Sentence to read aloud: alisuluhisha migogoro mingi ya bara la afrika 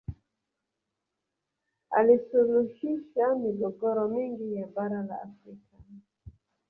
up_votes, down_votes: 1, 2